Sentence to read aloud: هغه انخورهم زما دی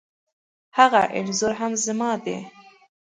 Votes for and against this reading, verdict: 1, 2, rejected